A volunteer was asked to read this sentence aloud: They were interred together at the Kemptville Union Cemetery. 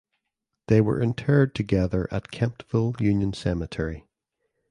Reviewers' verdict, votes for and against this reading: rejected, 1, 2